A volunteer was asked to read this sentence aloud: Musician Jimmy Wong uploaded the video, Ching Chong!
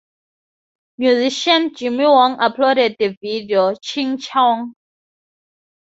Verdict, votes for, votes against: accepted, 2, 0